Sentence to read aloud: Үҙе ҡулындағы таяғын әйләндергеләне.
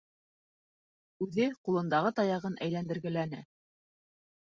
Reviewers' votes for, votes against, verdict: 0, 2, rejected